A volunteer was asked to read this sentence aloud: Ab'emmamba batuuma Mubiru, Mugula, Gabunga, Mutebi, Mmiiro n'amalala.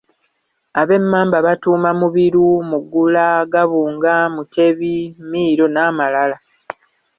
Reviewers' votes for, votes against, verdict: 1, 2, rejected